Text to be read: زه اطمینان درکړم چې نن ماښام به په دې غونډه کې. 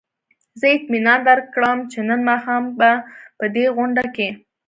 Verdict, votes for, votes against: accepted, 2, 0